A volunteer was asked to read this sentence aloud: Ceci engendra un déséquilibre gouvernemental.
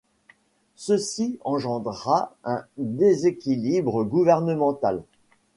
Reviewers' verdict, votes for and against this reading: accepted, 2, 0